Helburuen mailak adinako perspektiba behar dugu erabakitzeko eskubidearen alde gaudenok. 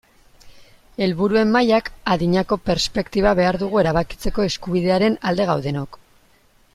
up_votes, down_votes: 2, 0